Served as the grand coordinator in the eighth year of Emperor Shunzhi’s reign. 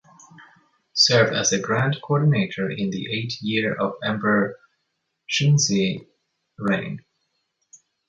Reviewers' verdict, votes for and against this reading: rejected, 0, 2